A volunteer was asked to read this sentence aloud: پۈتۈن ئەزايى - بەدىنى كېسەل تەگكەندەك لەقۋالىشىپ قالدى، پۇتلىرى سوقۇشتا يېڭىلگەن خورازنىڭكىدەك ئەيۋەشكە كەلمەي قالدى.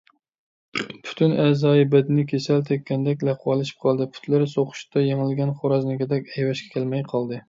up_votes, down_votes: 2, 0